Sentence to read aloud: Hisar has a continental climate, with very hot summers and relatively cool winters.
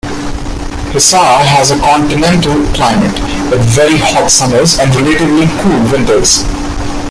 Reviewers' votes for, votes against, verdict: 2, 0, accepted